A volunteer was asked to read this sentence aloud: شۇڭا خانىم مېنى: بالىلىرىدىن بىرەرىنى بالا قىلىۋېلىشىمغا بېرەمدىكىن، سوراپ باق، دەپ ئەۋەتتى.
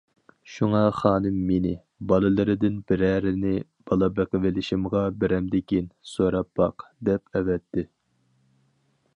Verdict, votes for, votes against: rejected, 2, 2